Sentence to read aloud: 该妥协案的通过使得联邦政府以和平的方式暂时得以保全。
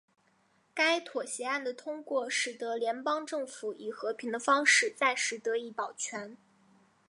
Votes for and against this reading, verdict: 1, 2, rejected